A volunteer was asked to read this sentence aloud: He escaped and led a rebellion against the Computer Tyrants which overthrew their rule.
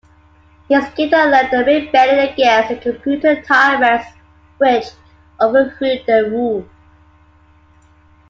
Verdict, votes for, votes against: accepted, 2, 0